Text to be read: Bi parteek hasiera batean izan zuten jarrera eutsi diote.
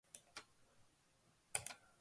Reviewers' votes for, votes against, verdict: 0, 2, rejected